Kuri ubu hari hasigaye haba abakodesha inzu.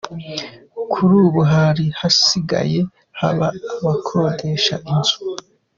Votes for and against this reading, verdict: 2, 0, accepted